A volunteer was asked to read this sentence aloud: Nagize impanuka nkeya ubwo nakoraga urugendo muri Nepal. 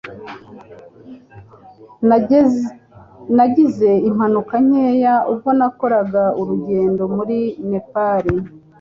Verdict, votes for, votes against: rejected, 2, 3